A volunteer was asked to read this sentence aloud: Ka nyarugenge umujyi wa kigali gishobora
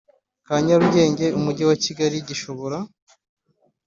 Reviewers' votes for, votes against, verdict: 2, 0, accepted